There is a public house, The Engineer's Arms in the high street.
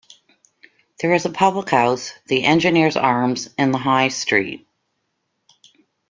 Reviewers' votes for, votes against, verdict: 2, 0, accepted